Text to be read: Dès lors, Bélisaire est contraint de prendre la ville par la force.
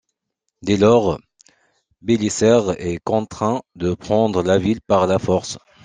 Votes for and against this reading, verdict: 0, 2, rejected